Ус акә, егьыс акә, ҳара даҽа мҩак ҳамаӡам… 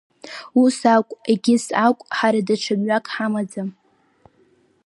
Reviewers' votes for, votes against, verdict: 3, 0, accepted